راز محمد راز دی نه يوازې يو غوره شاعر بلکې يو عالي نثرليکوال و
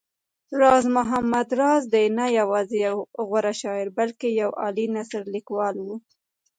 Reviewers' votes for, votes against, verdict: 1, 2, rejected